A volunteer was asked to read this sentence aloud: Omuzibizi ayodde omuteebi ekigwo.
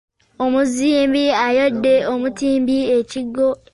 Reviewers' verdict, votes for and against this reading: rejected, 0, 2